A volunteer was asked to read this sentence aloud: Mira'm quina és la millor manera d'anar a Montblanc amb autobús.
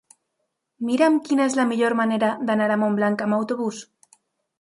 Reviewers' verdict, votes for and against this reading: accepted, 3, 0